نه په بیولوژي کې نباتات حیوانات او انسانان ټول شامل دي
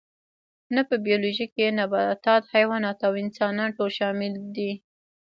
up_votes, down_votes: 1, 2